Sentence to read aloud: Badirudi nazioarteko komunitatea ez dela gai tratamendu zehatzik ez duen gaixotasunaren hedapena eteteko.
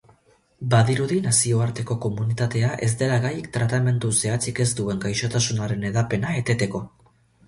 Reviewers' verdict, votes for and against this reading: accepted, 2, 0